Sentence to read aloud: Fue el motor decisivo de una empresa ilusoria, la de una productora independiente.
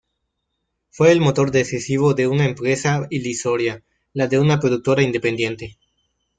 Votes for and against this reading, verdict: 0, 2, rejected